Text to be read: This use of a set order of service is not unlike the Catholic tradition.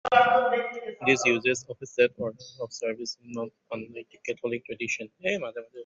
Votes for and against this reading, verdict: 0, 2, rejected